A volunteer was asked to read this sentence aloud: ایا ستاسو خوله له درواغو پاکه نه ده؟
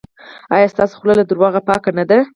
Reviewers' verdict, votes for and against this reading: accepted, 4, 0